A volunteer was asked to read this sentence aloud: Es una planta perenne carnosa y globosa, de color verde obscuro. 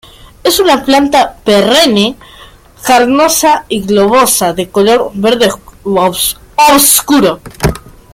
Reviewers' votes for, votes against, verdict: 0, 2, rejected